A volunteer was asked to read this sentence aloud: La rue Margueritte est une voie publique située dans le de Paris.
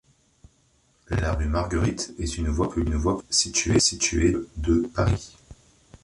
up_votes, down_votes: 0, 2